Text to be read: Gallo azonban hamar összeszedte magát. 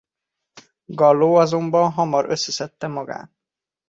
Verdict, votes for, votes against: accepted, 2, 0